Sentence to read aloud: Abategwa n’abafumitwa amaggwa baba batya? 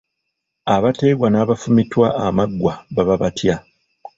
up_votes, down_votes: 0, 2